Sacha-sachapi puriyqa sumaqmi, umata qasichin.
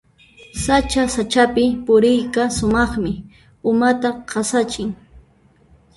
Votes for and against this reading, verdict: 1, 2, rejected